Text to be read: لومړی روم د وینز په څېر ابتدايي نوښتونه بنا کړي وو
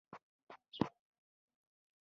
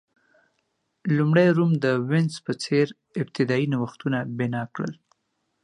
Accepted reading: second